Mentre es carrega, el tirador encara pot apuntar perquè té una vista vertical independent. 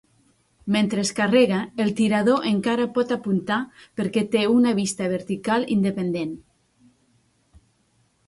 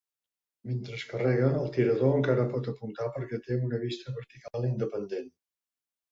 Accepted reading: first